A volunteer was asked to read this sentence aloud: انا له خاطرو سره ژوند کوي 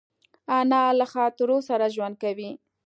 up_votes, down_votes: 2, 0